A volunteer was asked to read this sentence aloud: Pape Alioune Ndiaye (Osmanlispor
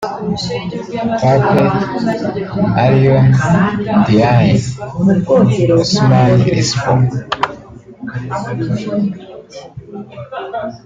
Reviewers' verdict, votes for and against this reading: rejected, 0, 2